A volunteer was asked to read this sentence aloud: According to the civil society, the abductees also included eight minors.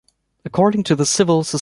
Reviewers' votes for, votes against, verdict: 0, 2, rejected